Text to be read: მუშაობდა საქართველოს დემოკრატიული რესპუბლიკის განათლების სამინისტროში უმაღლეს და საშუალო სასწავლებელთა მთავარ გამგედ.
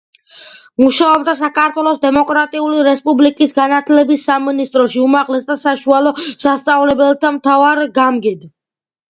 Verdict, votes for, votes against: accepted, 2, 0